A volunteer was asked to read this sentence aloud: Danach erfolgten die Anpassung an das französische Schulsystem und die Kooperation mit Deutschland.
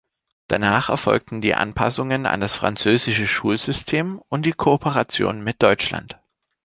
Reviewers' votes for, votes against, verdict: 2, 0, accepted